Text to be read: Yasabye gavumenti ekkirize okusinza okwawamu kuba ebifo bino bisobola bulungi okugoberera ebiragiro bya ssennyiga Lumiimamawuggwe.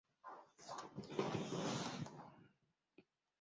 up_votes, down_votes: 0, 2